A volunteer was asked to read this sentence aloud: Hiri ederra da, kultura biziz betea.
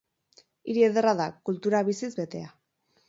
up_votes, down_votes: 4, 0